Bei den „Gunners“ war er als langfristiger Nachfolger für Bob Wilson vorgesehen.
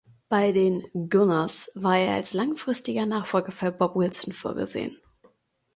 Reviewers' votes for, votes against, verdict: 0, 2, rejected